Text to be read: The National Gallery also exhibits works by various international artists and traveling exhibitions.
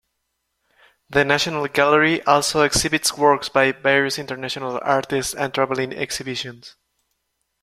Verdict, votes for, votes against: rejected, 0, 2